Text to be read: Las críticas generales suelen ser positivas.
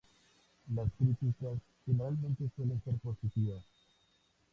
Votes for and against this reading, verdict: 2, 0, accepted